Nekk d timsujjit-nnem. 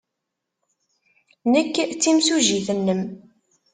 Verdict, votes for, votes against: accepted, 2, 0